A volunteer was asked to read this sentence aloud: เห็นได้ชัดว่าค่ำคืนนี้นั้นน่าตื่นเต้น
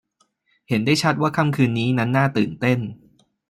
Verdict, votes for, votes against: accepted, 2, 1